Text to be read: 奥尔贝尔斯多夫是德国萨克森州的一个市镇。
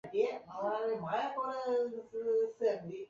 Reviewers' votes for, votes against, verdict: 1, 3, rejected